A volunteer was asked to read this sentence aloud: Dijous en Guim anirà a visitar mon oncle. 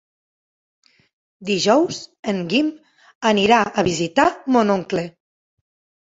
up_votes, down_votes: 3, 0